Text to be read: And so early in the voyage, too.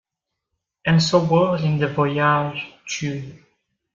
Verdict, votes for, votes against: rejected, 0, 2